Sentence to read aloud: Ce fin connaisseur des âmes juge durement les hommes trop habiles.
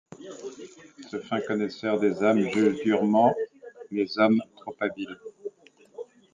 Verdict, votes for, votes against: accepted, 2, 1